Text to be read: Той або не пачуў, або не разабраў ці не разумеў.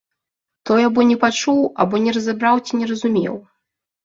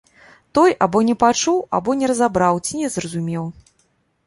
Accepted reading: first